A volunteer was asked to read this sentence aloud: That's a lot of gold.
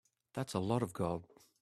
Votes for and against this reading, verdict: 2, 1, accepted